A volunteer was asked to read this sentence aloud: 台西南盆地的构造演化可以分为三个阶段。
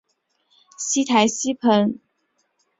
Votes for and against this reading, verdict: 1, 3, rejected